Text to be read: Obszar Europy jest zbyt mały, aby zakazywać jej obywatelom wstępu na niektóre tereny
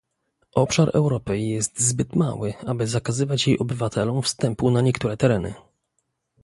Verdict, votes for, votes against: accepted, 2, 1